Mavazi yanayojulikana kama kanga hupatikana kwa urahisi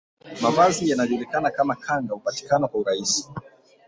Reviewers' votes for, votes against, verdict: 0, 2, rejected